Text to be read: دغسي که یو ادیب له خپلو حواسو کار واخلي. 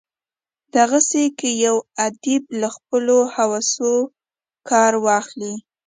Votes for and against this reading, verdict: 2, 1, accepted